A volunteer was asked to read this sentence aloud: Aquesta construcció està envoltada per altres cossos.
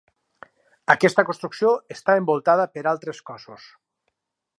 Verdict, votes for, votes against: rejected, 2, 2